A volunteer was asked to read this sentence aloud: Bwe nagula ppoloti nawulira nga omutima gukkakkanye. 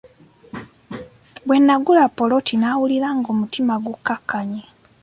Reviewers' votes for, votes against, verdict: 2, 1, accepted